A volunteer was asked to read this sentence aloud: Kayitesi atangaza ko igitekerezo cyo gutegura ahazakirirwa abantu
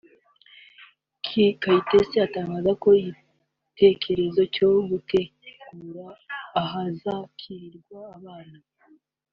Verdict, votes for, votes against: rejected, 1, 2